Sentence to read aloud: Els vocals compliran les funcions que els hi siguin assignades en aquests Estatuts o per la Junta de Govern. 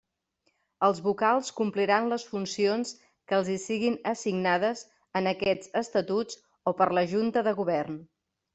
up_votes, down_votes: 3, 0